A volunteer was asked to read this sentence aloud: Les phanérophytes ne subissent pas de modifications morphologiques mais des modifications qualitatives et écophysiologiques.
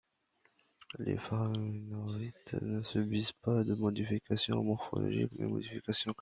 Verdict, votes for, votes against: rejected, 0, 2